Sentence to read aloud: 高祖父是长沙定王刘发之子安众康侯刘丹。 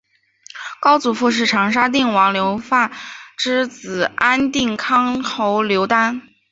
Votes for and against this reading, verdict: 2, 1, accepted